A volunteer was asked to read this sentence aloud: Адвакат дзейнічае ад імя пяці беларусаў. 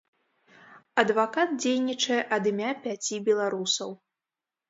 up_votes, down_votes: 2, 0